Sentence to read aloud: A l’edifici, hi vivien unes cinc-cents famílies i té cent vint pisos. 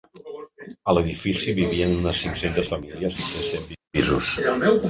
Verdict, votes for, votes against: rejected, 0, 2